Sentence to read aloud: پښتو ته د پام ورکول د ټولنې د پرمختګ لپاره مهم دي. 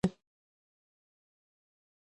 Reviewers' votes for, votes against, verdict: 0, 2, rejected